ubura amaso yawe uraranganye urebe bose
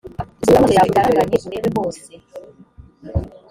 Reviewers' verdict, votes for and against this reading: rejected, 0, 2